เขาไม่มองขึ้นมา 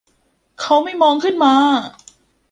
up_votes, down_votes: 1, 2